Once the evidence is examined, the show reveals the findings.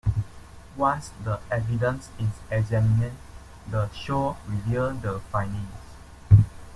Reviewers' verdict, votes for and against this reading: accepted, 3, 1